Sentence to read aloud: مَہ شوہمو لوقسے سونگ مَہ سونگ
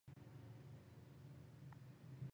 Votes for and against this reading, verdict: 0, 2, rejected